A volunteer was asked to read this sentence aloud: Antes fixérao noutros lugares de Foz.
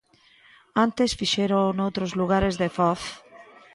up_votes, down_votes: 2, 0